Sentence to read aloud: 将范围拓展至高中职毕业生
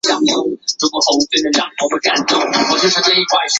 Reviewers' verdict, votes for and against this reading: rejected, 0, 2